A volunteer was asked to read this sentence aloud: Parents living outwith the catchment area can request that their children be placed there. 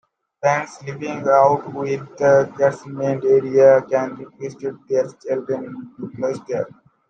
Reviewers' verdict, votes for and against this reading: accepted, 2, 0